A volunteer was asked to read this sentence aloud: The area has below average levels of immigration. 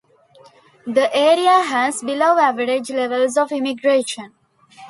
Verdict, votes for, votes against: accepted, 2, 0